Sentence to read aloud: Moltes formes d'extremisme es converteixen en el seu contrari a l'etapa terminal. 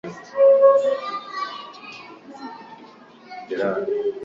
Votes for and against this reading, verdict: 0, 2, rejected